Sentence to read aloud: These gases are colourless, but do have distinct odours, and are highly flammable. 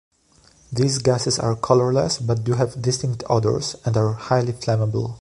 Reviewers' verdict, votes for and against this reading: accepted, 2, 0